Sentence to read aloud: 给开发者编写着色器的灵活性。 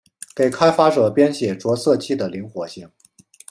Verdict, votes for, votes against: accepted, 2, 0